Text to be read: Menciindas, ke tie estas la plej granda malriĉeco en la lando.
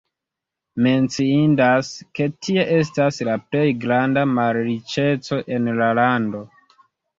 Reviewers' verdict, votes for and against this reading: accepted, 2, 0